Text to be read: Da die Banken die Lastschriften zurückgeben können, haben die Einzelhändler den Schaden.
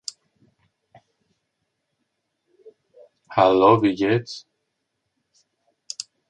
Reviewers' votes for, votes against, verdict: 0, 3, rejected